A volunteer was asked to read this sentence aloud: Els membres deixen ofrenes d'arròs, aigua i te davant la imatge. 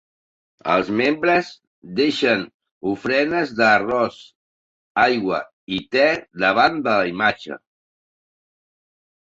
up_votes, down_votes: 2, 0